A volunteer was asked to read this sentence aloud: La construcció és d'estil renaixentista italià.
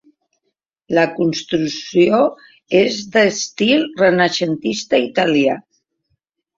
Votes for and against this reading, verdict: 0, 2, rejected